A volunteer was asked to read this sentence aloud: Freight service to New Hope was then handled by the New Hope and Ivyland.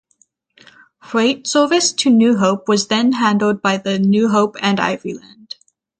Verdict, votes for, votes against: accepted, 6, 0